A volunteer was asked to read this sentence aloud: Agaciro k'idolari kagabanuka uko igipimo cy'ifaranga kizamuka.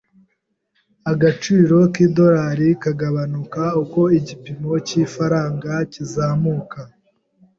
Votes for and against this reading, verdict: 3, 0, accepted